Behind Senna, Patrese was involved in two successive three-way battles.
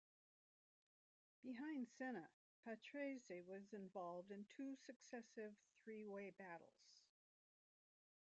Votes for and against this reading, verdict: 0, 2, rejected